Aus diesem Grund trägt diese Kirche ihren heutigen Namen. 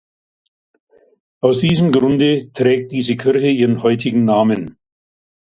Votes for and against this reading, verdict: 0, 2, rejected